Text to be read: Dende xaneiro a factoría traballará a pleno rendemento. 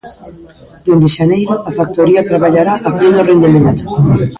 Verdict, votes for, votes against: rejected, 0, 2